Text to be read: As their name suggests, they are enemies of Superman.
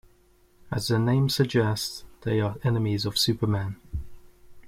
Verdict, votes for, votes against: accepted, 2, 1